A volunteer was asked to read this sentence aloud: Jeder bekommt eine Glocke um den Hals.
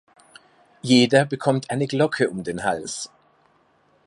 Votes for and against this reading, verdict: 2, 0, accepted